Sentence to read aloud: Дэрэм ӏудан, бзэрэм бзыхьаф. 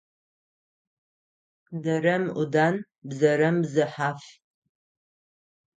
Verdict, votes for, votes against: accepted, 9, 0